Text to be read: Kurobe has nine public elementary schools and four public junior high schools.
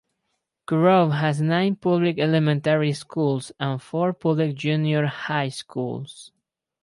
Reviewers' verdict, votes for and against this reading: accepted, 4, 0